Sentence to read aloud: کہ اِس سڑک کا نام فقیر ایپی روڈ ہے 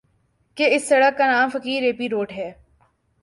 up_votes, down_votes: 2, 0